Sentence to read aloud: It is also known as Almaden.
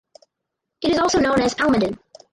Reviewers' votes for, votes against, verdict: 0, 2, rejected